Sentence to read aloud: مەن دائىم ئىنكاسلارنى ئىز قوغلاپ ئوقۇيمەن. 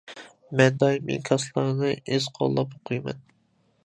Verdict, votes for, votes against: rejected, 0, 2